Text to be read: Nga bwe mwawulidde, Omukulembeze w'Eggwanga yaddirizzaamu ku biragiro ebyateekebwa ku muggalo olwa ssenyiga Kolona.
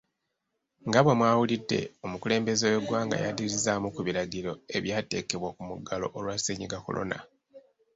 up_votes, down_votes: 2, 3